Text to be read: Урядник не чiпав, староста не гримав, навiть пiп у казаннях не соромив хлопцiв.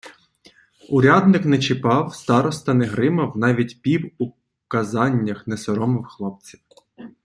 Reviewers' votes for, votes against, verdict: 0, 2, rejected